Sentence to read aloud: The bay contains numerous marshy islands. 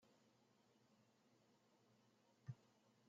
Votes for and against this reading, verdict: 0, 2, rejected